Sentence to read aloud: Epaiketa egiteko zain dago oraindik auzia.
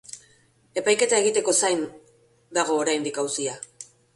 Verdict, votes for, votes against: rejected, 1, 2